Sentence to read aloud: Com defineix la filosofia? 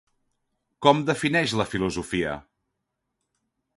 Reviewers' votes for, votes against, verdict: 2, 0, accepted